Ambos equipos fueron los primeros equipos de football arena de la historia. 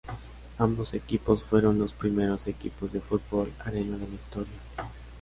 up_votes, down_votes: 0, 3